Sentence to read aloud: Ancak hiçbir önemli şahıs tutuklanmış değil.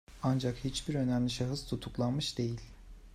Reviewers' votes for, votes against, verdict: 2, 0, accepted